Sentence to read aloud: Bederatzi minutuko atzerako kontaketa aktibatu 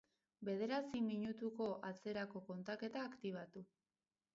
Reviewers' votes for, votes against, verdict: 2, 0, accepted